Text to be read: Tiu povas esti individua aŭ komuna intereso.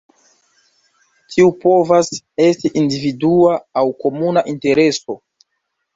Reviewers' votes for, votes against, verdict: 2, 0, accepted